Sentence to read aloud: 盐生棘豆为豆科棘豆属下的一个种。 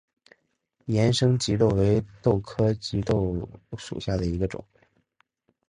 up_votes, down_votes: 3, 0